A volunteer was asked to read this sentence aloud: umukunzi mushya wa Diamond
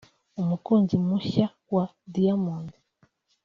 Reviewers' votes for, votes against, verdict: 2, 0, accepted